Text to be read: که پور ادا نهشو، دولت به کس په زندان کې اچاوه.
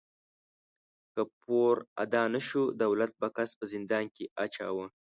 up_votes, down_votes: 2, 0